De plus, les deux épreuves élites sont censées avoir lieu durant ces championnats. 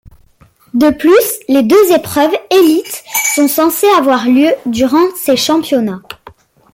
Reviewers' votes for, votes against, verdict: 2, 0, accepted